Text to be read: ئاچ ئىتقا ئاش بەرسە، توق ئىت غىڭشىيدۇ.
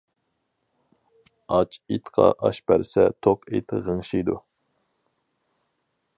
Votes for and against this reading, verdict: 2, 4, rejected